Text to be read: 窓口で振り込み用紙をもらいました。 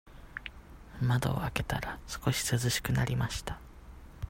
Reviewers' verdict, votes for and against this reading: rejected, 0, 2